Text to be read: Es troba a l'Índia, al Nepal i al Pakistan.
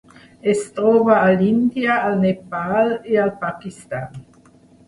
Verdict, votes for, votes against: accepted, 3, 0